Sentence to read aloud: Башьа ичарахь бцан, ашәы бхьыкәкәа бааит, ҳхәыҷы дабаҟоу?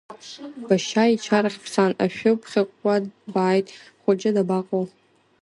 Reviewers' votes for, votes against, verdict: 2, 0, accepted